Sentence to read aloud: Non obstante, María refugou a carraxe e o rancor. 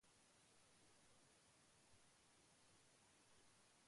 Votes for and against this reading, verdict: 0, 2, rejected